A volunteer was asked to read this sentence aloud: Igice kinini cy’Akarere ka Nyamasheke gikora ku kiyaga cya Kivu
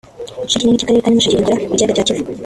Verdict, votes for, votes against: rejected, 1, 2